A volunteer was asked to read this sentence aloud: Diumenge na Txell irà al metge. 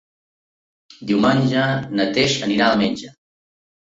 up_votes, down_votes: 0, 2